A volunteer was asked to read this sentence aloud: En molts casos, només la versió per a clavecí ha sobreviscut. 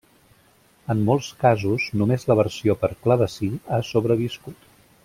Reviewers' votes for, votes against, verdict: 1, 2, rejected